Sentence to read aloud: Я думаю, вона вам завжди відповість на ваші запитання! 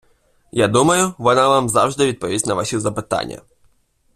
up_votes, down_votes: 2, 0